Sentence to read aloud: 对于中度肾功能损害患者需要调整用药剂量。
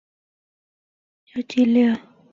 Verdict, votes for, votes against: rejected, 0, 3